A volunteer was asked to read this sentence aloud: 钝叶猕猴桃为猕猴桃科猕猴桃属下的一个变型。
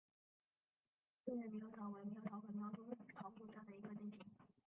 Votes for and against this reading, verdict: 1, 2, rejected